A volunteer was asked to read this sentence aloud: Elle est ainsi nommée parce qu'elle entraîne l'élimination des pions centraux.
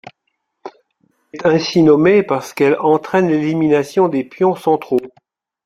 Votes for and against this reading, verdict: 1, 2, rejected